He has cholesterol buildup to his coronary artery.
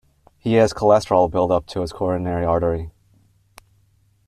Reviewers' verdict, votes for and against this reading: accepted, 2, 0